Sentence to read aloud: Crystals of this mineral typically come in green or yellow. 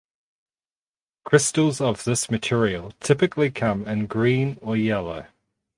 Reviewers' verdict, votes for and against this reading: rejected, 0, 4